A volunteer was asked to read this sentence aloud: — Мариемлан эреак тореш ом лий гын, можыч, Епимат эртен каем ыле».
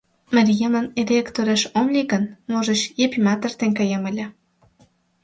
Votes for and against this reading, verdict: 2, 0, accepted